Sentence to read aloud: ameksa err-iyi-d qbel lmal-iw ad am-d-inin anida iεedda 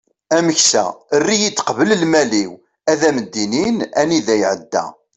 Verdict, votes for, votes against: accepted, 3, 0